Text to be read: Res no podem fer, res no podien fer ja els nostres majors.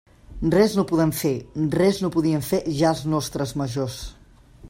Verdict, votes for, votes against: accepted, 3, 0